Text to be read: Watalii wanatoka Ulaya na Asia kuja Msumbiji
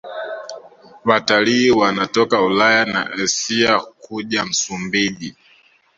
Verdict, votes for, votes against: accepted, 2, 0